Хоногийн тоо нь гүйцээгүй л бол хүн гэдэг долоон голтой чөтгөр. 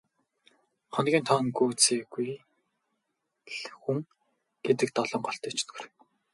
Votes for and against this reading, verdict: 2, 4, rejected